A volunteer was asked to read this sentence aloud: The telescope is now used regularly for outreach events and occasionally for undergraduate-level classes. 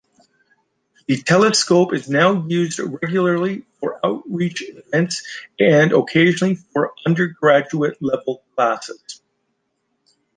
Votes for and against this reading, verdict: 2, 1, accepted